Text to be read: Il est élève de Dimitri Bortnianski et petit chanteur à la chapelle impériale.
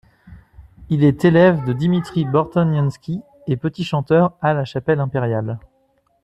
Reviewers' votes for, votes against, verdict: 2, 1, accepted